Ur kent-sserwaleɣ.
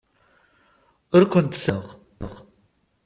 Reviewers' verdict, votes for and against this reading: rejected, 0, 2